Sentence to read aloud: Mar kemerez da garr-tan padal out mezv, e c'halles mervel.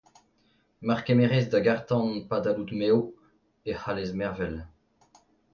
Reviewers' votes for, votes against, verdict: 2, 1, accepted